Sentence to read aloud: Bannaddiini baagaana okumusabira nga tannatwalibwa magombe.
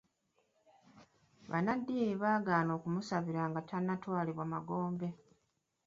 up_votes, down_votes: 2, 1